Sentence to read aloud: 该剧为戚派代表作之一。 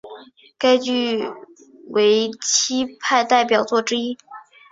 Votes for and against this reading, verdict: 3, 0, accepted